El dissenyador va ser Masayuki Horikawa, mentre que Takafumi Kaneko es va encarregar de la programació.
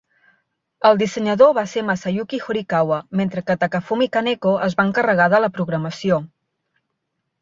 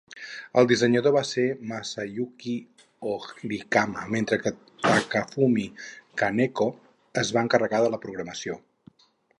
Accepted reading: first